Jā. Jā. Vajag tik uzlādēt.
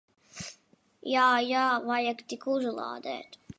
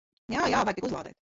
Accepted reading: first